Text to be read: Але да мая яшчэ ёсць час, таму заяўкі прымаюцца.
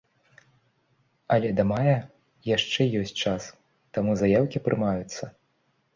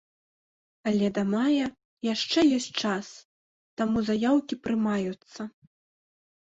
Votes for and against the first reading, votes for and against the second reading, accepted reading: 2, 0, 1, 2, first